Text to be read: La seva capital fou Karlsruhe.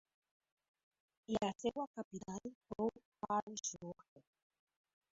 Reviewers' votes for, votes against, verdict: 2, 1, accepted